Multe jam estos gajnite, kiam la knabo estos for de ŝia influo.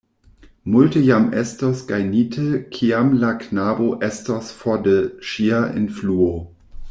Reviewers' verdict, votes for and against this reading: accepted, 2, 0